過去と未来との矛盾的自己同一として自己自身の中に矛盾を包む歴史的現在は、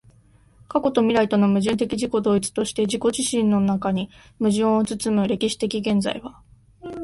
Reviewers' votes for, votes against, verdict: 2, 0, accepted